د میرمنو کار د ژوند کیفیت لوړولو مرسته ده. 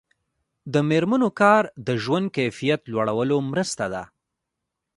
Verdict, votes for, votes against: accepted, 2, 0